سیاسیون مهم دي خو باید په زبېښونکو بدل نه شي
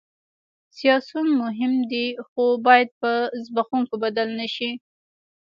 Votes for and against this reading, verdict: 1, 2, rejected